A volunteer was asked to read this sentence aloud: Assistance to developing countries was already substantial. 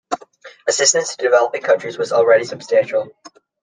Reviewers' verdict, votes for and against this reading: accepted, 2, 0